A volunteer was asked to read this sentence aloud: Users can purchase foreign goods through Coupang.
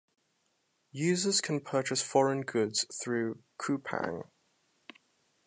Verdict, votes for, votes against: accepted, 2, 0